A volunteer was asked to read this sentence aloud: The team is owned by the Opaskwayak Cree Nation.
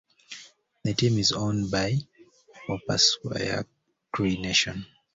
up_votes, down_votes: 2, 0